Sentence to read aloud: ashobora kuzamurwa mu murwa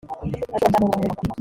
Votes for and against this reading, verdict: 0, 2, rejected